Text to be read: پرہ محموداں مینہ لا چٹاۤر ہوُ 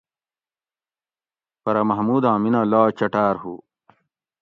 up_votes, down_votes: 2, 0